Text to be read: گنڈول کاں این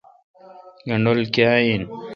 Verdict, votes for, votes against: accepted, 2, 0